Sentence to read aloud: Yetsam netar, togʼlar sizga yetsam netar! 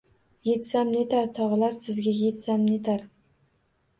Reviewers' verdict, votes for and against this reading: rejected, 1, 2